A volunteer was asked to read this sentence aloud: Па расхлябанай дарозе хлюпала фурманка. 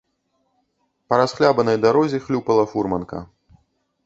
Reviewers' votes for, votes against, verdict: 0, 2, rejected